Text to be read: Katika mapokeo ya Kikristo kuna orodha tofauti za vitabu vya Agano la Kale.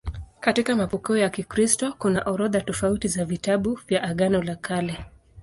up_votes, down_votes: 2, 0